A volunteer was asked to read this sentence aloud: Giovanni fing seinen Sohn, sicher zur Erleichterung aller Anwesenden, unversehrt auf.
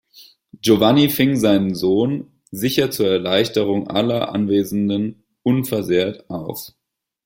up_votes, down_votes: 1, 2